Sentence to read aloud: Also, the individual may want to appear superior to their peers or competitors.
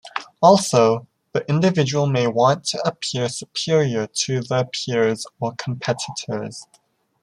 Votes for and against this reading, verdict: 2, 0, accepted